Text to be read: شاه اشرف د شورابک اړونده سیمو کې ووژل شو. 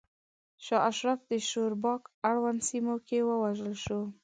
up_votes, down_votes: 1, 2